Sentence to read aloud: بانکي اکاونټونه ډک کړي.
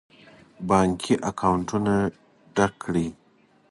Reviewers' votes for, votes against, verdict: 2, 0, accepted